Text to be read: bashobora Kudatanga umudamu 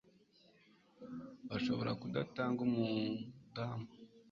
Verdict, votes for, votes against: accepted, 3, 0